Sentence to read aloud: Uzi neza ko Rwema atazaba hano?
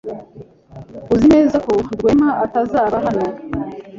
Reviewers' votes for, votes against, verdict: 3, 0, accepted